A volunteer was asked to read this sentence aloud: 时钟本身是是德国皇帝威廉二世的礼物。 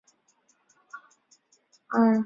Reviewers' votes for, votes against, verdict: 0, 4, rejected